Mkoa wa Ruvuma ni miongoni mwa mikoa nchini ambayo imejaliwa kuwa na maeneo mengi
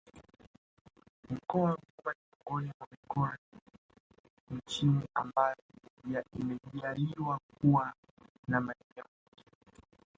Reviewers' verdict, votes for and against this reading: rejected, 0, 2